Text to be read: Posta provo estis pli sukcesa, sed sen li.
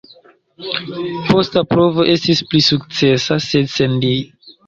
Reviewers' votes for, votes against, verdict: 0, 2, rejected